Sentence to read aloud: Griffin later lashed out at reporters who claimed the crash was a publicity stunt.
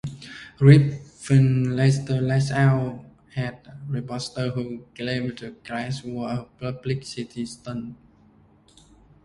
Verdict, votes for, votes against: rejected, 0, 2